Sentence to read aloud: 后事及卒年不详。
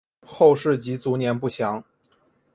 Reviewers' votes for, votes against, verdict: 2, 0, accepted